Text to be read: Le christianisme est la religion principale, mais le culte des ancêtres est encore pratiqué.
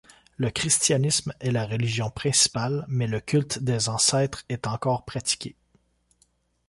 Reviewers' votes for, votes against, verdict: 2, 0, accepted